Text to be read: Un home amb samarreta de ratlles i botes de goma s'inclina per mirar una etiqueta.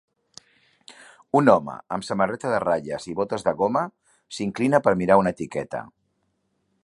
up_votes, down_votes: 3, 0